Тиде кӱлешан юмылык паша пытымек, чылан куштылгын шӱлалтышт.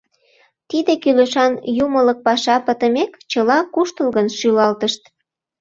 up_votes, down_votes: 0, 2